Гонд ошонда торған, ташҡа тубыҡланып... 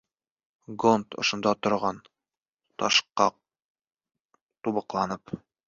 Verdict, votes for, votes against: rejected, 0, 2